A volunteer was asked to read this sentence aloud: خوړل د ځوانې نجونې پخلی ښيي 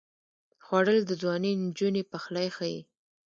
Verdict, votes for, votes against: rejected, 0, 2